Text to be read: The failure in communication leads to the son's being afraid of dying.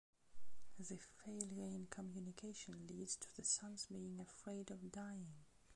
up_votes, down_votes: 2, 0